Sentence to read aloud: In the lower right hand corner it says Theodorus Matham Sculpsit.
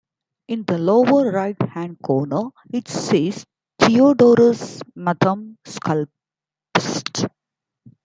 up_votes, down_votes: 0, 2